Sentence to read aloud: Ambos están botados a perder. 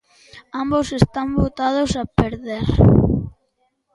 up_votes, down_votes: 2, 1